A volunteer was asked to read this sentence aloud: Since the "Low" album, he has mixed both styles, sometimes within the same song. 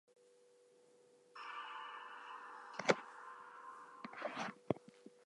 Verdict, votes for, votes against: rejected, 0, 2